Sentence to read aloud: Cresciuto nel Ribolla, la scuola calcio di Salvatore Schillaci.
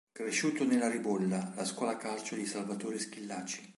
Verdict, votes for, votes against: rejected, 1, 3